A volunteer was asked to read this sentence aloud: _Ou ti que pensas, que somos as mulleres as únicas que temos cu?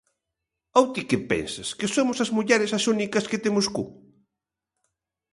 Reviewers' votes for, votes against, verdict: 2, 0, accepted